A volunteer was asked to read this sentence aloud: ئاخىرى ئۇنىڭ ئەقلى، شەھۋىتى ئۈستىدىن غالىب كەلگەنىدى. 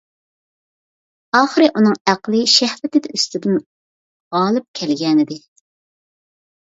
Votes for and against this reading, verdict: 1, 2, rejected